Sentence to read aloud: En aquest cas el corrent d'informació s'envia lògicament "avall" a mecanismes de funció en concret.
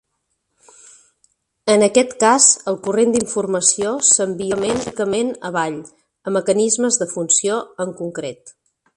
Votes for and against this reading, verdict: 0, 2, rejected